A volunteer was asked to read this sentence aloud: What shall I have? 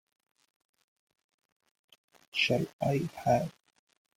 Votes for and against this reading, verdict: 1, 2, rejected